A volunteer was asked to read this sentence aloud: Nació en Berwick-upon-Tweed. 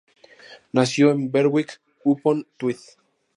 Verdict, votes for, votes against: accepted, 2, 0